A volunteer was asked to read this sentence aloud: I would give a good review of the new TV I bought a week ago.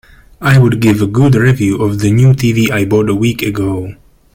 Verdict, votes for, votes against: rejected, 1, 2